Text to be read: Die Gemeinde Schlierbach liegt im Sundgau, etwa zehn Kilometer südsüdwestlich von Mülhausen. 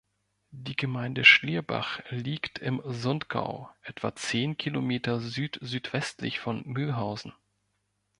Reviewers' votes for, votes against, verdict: 2, 0, accepted